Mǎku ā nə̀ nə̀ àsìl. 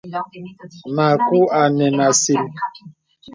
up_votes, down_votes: 2, 0